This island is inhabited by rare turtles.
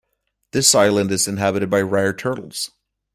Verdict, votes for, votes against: accepted, 2, 0